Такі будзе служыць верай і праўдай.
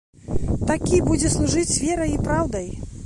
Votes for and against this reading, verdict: 1, 2, rejected